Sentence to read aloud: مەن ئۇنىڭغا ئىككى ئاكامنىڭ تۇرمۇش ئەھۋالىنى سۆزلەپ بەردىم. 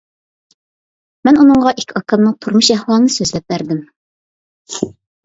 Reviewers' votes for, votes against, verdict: 2, 0, accepted